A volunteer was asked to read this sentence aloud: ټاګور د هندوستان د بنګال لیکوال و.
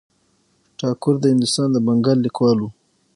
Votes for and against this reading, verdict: 6, 0, accepted